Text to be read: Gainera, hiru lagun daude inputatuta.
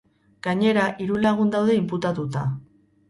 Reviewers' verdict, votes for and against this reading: rejected, 2, 2